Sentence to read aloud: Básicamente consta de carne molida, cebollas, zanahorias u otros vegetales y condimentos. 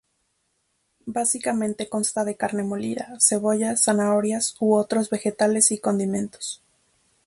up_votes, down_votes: 4, 0